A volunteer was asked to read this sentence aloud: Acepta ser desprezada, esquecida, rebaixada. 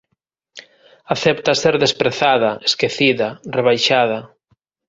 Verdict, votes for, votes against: accepted, 2, 0